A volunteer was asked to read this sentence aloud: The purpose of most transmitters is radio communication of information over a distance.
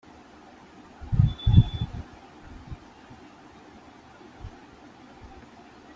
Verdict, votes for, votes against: rejected, 0, 2